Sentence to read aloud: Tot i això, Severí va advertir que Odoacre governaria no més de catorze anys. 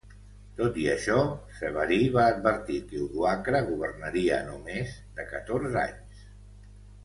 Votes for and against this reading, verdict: 2, 0, accepted